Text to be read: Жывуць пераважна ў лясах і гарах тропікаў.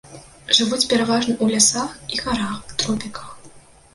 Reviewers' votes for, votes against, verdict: 0, 2, rejected